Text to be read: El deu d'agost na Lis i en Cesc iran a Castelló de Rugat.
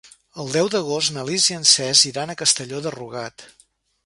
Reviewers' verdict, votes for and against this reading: rejected, 1, 2